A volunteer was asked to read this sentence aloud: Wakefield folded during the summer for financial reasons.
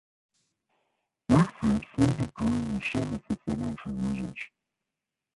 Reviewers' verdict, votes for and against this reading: rejected, 1, 2